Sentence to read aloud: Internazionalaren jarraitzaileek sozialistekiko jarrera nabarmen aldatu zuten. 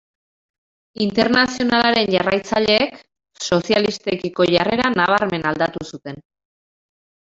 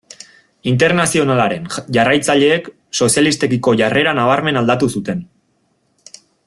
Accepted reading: second